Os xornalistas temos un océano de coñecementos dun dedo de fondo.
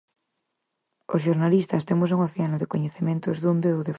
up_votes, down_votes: 2, 4